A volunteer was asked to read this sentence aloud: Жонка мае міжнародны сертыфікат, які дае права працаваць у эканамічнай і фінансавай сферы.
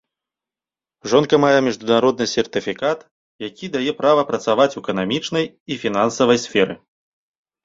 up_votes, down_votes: 1, 2